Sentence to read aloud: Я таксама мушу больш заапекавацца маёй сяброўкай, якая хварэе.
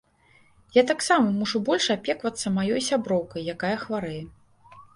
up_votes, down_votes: 0, 2